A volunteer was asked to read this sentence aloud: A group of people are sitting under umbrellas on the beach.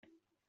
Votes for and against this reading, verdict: 0, 2, rejected